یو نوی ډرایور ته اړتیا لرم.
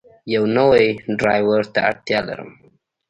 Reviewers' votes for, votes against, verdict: 2, 0, accepted